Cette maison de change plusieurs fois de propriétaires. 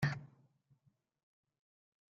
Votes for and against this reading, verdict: 0, 2, rejected